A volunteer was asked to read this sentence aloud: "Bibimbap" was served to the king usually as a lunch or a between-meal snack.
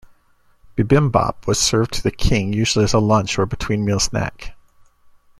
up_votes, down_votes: 1, 2